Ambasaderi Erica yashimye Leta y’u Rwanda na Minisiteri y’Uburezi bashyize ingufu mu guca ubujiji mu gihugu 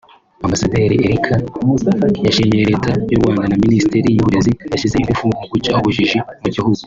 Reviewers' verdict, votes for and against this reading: rejected, 1, 2